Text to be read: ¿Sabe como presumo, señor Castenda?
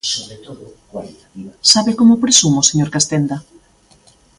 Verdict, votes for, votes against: accepted, 2, 0